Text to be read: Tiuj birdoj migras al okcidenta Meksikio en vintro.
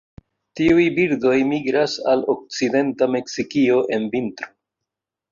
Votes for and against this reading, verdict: 2, 0, accepted